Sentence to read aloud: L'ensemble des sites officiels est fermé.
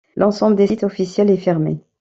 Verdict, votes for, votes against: rejected, 1, 2